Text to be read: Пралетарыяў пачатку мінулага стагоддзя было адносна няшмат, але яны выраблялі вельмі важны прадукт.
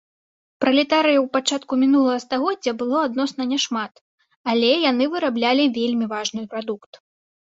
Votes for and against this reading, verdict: 2, 0, accepted